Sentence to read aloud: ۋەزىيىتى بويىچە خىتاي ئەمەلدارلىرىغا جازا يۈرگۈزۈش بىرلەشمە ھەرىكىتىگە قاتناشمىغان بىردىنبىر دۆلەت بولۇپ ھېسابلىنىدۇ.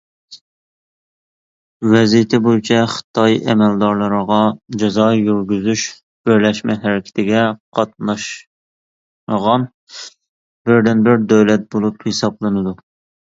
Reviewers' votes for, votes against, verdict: 1, 2, rejected